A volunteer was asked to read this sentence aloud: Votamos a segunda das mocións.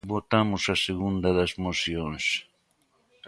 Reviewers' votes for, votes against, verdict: 2, 0, accepted